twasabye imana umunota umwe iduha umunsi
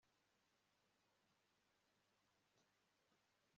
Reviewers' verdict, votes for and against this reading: rejected, 0, 3